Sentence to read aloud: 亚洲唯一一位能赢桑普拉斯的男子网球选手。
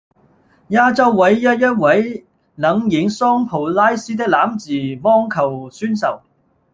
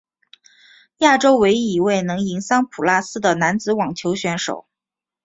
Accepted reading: second